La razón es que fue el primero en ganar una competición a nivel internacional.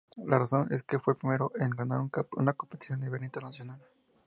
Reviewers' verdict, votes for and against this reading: accepted, 2, 0